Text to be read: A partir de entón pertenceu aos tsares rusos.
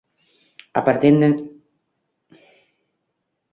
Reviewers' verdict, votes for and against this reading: rejected, 0, 2